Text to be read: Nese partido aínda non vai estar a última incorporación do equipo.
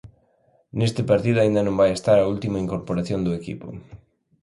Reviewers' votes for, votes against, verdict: 1, 2, rejected